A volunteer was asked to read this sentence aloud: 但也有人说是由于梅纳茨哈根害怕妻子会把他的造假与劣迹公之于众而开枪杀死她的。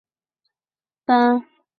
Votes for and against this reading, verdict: 0, 2, rejected